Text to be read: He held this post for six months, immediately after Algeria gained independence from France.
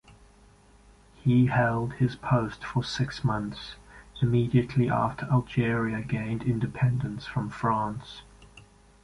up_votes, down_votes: 0, 2